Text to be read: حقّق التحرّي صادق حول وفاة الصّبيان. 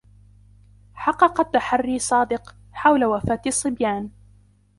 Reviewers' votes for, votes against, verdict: 1, 2, rejected